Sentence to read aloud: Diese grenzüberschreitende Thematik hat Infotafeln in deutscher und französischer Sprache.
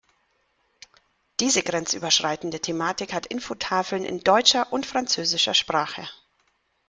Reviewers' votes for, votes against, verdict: 2, 0, accepted